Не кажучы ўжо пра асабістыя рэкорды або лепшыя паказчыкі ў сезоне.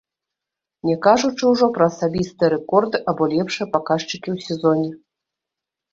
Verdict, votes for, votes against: rejected, 0, 2